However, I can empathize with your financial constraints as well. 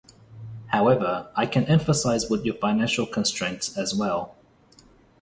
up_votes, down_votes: 0, 2